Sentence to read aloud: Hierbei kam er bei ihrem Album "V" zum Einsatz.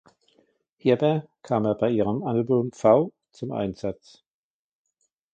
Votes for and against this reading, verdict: 1, 2, rejected